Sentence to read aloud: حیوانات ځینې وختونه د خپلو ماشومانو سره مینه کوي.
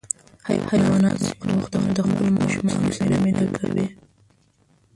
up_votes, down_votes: 0, 2